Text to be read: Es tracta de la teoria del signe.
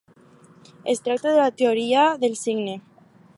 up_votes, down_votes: 4, 0